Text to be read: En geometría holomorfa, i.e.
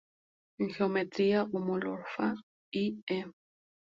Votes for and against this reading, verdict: 0, 2, rejected